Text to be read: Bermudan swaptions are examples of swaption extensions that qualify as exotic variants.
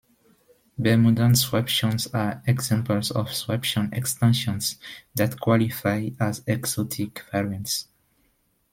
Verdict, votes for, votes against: accepted, 2, 1